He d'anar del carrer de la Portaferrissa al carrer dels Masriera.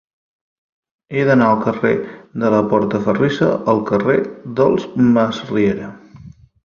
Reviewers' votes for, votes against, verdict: 1, 2, rejected